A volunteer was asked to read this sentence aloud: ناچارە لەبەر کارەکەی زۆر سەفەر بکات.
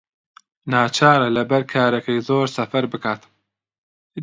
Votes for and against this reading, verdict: 2, 0, accepted